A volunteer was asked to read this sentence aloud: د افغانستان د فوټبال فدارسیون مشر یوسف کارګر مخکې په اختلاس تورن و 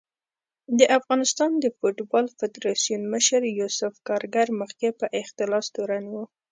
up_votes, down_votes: 2, 0